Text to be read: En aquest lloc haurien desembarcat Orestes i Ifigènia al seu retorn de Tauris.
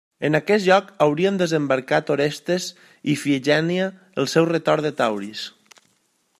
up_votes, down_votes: 2, 0